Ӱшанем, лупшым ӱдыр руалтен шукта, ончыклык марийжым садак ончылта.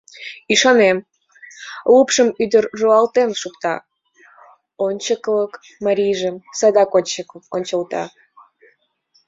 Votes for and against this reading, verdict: 1, 2, rejected